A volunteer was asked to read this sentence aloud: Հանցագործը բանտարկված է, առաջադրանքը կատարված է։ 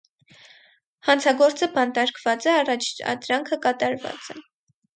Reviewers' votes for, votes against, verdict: 0, 4, rejected